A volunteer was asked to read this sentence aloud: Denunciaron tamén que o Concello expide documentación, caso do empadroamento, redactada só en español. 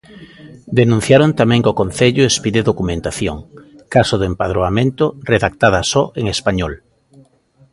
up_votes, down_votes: 2, 0